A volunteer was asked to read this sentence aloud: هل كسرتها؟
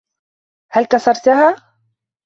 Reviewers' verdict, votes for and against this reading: accepted, 3, 0